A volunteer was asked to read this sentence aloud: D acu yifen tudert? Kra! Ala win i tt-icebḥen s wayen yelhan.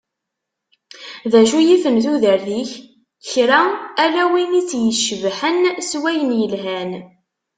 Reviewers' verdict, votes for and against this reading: rejected, 0, 2